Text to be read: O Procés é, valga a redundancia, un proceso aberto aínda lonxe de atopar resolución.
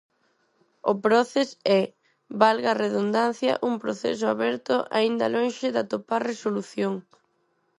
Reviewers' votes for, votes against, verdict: 0, 4, rejected